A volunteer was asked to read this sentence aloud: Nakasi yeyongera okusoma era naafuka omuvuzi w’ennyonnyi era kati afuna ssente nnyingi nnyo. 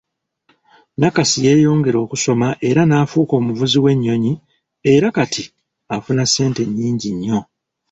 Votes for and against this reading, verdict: 2, 0, accepted